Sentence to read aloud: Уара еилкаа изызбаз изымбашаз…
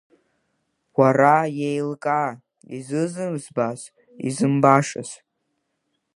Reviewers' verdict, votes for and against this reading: rejected, 0, 2